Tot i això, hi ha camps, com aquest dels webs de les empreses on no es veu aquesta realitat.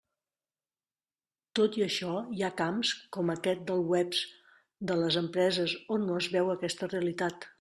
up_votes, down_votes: 1, 2